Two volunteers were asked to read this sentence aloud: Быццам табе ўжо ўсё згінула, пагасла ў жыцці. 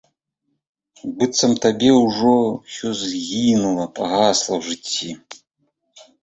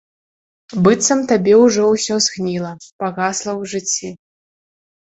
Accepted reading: first